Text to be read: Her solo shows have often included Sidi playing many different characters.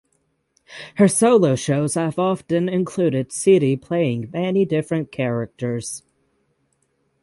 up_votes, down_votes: 6, 0